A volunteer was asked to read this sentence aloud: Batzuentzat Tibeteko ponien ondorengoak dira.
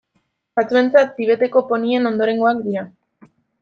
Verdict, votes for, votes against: accepted, 2, 0